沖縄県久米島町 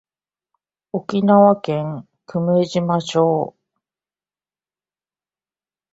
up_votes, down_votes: 2, 0